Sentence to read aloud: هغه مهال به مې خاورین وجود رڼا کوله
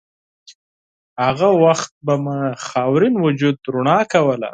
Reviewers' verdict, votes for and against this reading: rejected, 0, 4